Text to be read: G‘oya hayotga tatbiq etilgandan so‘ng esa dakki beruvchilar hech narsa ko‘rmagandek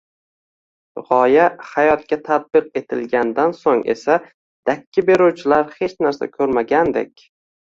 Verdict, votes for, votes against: rejected, 1, 2